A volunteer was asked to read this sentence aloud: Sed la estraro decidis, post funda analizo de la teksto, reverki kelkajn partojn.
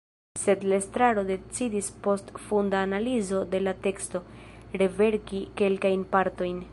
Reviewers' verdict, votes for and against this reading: rejected, 0, 2